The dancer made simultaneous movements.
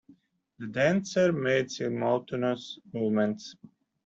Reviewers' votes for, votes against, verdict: 0, 2, rejected